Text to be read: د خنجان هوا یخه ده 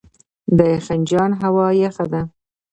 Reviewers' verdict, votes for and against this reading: rejected, 1, 2